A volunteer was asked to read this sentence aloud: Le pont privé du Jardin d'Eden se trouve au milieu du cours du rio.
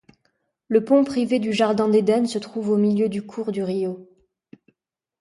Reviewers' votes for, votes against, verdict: 2, 0, accepted